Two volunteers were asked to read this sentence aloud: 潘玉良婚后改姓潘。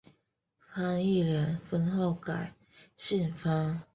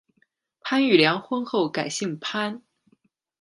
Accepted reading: second